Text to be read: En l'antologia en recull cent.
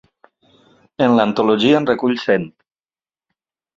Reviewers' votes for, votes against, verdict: 2, 0, accepted